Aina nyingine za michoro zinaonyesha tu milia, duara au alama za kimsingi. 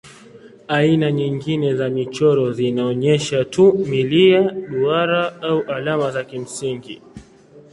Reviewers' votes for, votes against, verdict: 2, 0, accepted